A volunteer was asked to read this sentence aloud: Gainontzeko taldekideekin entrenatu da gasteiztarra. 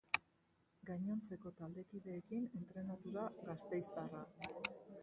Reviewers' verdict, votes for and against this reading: rejected, 0, 4